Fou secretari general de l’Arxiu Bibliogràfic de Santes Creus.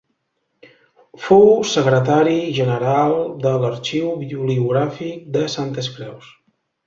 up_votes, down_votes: 1, 2